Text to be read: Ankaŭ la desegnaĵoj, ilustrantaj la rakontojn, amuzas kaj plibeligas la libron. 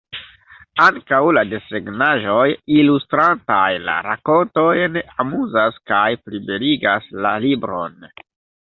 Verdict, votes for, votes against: accepted, 2, 1